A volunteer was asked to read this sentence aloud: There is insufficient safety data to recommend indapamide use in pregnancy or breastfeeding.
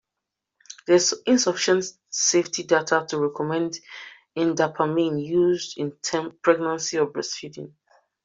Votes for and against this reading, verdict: 0, 2, rejected